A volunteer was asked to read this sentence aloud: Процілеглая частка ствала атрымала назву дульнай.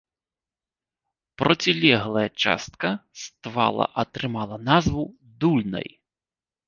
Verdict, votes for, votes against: rejected, 0, 2